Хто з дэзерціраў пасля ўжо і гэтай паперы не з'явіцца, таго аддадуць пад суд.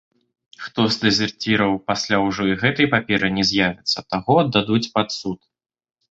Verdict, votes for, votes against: accepted, 2, 1